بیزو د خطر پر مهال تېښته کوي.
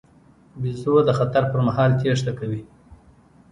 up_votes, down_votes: 2, 0